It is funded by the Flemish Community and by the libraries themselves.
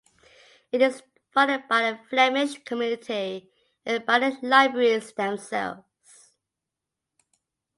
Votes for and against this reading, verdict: 3, 0, accepted